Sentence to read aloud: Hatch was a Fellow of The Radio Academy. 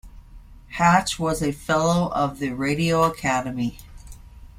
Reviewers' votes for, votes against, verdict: 2, 1, accepted